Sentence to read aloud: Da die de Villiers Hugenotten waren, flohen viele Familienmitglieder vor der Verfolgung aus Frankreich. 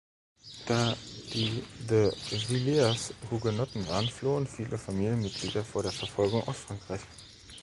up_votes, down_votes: 1, 2